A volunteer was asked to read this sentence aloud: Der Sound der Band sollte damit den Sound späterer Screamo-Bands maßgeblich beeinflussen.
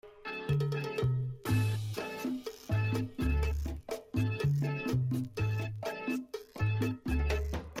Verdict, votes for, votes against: rejected, 0, 2